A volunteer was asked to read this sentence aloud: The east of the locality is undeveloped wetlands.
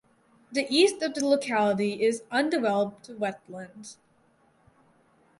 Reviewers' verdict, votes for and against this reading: accepted, 4, 0